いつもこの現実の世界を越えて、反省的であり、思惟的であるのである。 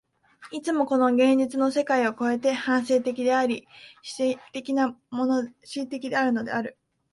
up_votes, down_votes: 2, 3